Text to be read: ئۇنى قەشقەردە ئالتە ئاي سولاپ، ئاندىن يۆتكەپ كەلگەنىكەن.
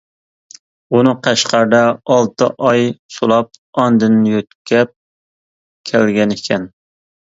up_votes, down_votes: 2, 0